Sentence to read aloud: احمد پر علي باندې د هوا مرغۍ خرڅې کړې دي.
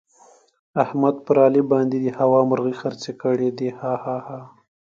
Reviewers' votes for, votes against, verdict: 1, 2, rejected